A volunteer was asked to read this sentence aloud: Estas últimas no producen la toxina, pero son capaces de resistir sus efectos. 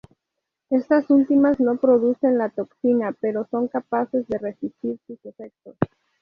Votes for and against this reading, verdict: 0, 2, rejected